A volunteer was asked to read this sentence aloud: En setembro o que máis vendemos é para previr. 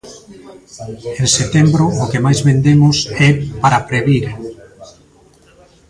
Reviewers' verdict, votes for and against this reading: rejected, 1, 2